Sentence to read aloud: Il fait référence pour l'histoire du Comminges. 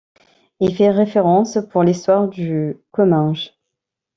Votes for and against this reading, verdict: 0, 2, rejected